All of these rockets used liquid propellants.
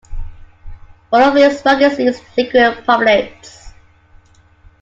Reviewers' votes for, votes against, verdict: 0, 2, rejected